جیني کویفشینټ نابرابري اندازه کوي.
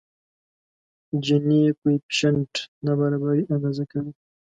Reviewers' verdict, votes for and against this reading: accepted, 2, 0